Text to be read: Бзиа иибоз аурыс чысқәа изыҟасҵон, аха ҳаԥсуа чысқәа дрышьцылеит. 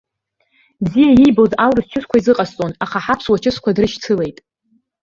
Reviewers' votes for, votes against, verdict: 1, 3, rejected